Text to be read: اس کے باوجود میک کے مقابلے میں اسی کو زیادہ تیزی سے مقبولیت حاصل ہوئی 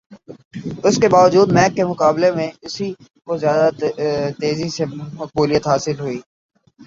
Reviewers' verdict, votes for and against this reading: accepted, 4, 3